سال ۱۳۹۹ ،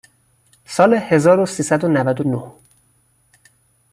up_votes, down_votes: 0, 2